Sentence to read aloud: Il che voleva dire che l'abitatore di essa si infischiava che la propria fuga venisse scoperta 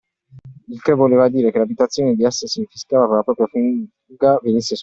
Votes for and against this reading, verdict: 0, 2, rejected